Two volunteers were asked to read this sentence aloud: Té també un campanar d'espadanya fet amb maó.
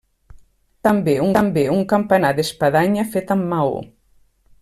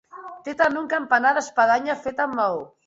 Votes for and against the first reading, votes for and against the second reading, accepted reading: 0, 2, 2, 0, second